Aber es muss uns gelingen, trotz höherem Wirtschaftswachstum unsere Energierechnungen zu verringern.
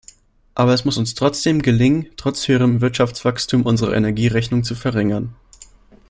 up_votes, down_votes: 0, 2